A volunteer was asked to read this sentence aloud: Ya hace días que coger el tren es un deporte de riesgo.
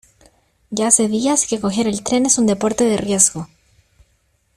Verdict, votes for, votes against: accepted, 2, 0